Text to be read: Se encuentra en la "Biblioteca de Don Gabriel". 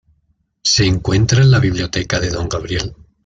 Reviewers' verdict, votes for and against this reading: accepted, 2, 0